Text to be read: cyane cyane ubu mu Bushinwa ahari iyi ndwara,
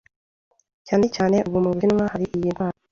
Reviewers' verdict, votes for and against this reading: rejected, 1, 2